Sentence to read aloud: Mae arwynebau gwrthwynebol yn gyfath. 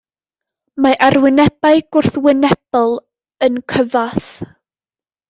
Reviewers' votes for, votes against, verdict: 1, 2, rejected